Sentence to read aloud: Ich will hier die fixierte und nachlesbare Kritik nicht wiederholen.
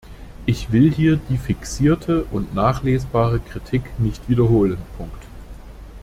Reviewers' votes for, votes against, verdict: 0, 2, rejected